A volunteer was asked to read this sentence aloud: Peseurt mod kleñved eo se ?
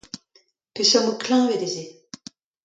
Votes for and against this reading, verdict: 2, 0, accepted